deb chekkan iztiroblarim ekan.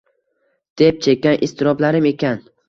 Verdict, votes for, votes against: rejected, 1, 2